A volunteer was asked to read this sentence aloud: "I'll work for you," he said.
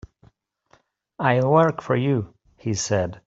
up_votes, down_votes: 2, 1